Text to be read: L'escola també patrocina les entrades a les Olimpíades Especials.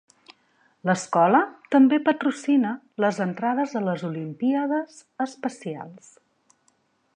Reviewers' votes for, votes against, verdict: 3, 0, accepted